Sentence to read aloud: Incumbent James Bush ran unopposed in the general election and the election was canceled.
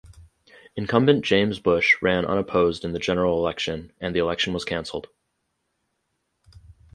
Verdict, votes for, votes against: accepted, 4, 0